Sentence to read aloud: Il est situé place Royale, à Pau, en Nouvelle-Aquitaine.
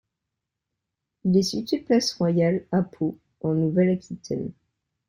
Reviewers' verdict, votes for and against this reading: accepted, 2, 1